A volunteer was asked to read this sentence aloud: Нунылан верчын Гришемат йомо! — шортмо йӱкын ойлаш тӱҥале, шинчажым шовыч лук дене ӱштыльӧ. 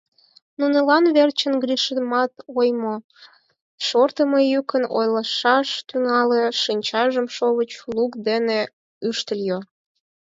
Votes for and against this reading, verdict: 2, 4, rejected